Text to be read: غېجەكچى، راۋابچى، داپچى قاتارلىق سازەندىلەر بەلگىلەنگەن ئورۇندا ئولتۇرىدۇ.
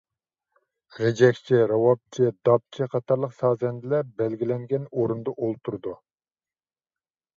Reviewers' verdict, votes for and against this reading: accepted, 2, 0